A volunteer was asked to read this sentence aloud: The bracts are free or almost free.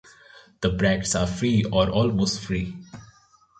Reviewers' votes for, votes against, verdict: 2, 1, accepted